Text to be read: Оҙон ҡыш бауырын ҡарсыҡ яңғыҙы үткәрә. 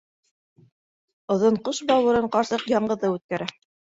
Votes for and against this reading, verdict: 2, 0, accepted